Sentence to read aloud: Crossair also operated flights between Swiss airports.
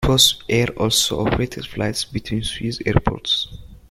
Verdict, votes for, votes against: accepted, 2, 0